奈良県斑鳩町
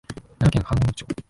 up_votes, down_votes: 0, 2